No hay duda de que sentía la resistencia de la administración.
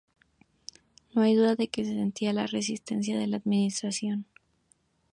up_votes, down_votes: 2, 0